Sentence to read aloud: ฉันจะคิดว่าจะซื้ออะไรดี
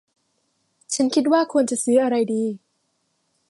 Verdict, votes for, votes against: rejected, 0, 2